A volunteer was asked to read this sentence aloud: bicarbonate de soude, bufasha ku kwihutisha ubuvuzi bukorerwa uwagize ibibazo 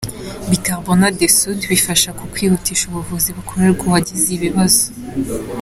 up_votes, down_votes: 2, 1